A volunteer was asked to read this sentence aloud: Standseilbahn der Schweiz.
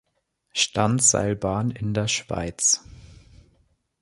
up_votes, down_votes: 0, 3